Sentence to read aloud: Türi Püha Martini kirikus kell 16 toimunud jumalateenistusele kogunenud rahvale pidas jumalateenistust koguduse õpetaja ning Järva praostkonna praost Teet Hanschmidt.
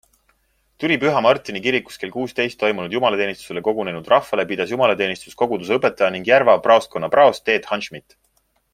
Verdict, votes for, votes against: rejected, 0, 2